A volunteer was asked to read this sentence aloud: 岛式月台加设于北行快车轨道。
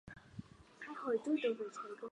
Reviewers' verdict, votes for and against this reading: rejected, 0, 2